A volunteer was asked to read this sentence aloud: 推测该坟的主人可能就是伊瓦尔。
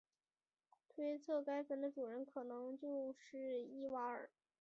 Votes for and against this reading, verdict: 1, 2, rejected